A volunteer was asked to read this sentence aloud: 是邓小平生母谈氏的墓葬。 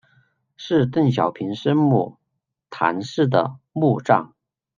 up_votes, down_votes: 2, 0